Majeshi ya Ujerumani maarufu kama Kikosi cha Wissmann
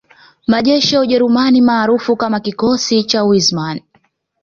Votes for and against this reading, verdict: 2, 0, accepted